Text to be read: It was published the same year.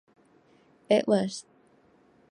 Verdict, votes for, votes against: rejected, 0, 2